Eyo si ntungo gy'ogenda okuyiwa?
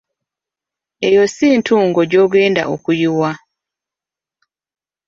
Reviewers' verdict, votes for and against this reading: rejected, 0, 2